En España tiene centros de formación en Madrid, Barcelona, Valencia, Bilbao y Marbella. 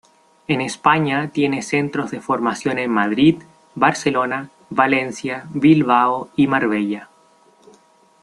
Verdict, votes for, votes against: rejected, 1, 2